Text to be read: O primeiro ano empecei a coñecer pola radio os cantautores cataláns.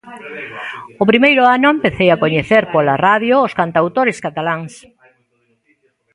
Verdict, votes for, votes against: accepted, 2, 0